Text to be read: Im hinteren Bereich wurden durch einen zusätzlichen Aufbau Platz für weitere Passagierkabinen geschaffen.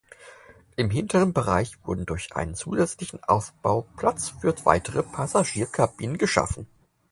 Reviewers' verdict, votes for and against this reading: accepted, 4, 0